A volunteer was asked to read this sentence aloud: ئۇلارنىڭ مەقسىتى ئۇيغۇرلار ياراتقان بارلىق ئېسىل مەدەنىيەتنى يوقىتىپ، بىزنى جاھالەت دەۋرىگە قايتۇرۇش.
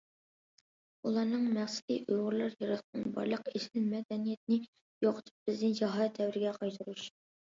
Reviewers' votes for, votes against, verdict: 2, 1, accepted